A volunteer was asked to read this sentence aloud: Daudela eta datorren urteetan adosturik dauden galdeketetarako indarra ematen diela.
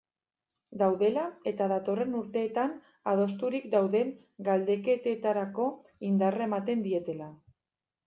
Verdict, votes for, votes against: rejected, 1, 2